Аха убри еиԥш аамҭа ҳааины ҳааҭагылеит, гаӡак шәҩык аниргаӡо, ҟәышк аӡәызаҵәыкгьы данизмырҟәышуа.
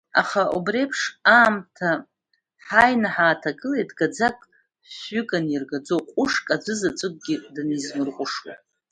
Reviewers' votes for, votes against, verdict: 1, 2, rejected